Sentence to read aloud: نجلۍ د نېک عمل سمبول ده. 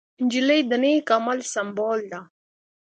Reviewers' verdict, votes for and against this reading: accepted, 2, 0